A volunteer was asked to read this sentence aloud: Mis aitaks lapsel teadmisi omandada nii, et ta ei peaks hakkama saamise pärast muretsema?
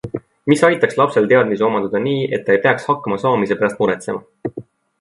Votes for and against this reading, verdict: 3, 0, accepted